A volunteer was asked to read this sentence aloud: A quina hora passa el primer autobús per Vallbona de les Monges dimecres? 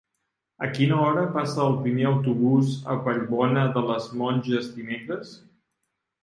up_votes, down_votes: 0, 2